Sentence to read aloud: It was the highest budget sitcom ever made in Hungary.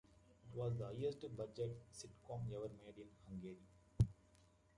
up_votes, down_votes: 1, 2